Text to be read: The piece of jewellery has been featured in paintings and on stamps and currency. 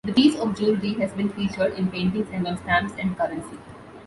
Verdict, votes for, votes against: rejected, 1, 2